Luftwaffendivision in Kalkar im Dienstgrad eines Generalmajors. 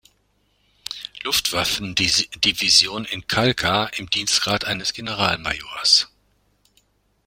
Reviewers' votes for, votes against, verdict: 0, 2, rejected